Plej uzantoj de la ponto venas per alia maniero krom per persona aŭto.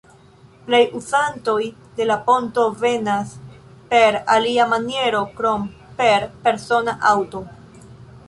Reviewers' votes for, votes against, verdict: 1, 2, rejected